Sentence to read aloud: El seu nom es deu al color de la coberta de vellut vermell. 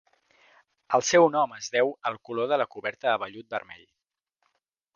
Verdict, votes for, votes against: accepted, 2, 0